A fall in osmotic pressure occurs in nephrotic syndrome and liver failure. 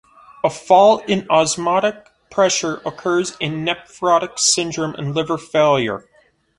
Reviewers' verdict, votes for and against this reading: accepted, 2, 0